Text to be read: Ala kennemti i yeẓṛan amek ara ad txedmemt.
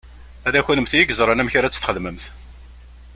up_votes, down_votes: 1, 2